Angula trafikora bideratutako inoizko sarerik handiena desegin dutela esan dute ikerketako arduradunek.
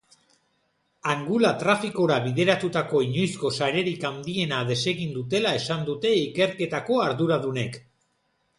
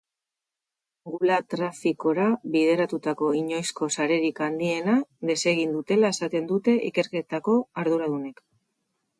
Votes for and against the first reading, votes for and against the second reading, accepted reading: 2, 0, 2, 6, first